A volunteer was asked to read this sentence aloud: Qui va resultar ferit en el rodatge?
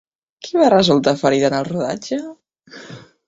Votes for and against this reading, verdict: 0, 2, rejected